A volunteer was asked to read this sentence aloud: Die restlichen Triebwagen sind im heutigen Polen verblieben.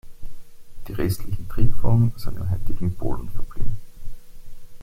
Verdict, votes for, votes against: rejected, 1, 2